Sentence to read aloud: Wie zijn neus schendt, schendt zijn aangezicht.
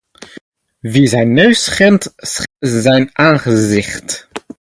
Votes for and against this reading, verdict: 0, 2, rejected